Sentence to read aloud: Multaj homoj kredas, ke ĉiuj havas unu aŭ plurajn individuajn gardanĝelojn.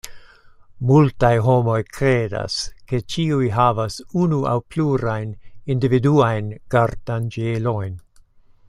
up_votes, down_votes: 2, 0